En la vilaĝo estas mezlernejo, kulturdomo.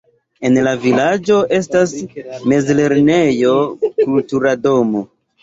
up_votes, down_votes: 1, 2